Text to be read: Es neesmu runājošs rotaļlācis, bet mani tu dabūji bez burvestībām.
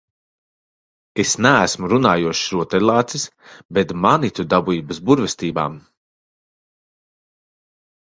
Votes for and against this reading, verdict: 2, 0, accepted